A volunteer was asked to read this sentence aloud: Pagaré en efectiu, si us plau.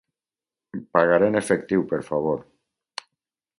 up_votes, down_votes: 2, 2